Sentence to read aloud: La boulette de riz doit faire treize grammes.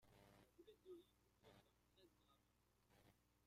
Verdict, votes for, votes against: rejected, 0, 2